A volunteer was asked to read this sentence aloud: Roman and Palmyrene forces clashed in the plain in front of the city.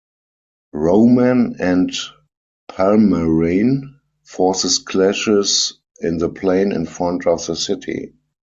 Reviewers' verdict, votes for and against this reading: rejected, 2, 4